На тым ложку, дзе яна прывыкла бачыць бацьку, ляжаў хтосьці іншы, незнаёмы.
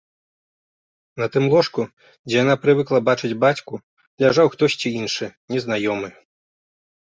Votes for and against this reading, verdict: 2, 0, accepted